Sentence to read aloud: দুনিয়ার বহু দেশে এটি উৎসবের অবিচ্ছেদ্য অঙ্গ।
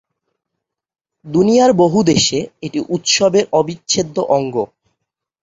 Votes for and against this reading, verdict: 4, 0, accepted